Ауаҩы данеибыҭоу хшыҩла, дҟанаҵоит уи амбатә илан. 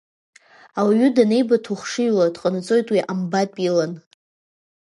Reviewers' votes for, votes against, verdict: 0, 2, rejected